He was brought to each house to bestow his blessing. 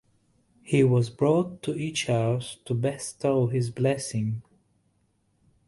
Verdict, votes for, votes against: accepted, 2, 0